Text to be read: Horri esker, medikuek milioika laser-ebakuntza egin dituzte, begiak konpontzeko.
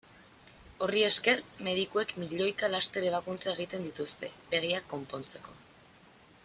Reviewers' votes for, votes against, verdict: 0, 2, rejected